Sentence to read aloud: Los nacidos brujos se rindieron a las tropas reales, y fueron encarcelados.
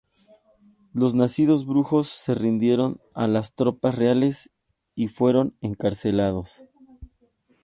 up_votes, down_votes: 2, 0